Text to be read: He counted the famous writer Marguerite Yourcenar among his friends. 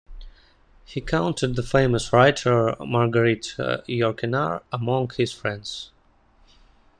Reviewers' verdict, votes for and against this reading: accepted, 2, 1